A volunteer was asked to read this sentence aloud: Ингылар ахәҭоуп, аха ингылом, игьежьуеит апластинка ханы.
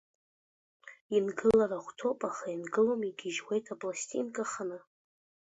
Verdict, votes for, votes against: accepted, 2, 0